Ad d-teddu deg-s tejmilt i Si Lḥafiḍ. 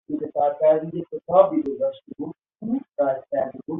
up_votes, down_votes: 0, 2